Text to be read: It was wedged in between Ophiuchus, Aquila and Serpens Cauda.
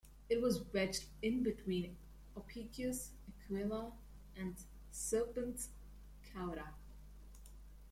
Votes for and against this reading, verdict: 0, 2, rejected